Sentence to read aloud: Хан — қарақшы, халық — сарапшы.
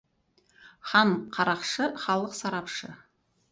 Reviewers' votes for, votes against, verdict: 4, 0, accepted